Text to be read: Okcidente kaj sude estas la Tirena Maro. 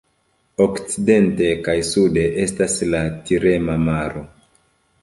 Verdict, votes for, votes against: rejected, 1, 3